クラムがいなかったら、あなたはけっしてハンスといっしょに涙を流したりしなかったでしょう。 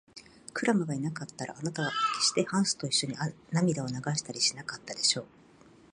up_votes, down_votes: 1, 2